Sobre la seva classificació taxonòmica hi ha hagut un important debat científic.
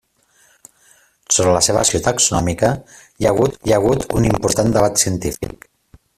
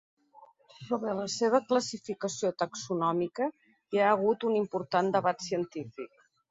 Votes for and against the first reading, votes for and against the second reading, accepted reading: 0, 2, 2, 0, second